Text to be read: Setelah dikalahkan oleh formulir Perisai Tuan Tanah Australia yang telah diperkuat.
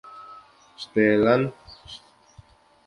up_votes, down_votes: 0, 2